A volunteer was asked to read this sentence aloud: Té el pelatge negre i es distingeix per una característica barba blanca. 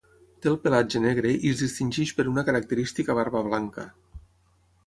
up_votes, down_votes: 6, 3